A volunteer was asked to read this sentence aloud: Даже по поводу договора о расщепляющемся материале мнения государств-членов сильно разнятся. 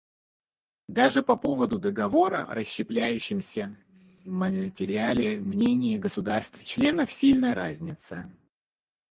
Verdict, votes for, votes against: rejected, 0, 4